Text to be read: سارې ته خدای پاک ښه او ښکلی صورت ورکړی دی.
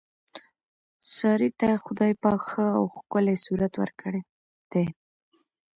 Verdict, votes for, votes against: accepted, 2, 0